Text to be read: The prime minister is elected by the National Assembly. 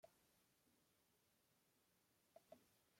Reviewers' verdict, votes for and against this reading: rejected, 0, 2